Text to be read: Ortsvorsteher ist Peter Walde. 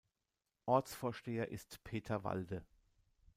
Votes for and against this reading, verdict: 2, 0, accepted